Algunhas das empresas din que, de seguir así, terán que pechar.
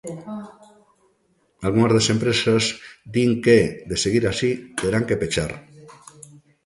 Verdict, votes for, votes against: rejected, 0, 2